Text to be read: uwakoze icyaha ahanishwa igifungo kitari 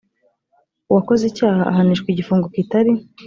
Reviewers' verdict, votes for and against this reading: accepted, 2, 0